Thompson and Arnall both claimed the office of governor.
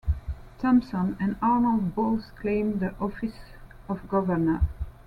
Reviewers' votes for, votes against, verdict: 2, 0, accepted